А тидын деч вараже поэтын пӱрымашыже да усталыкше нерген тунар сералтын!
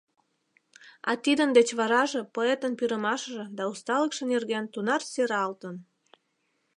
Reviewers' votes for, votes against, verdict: 3, 0, accepted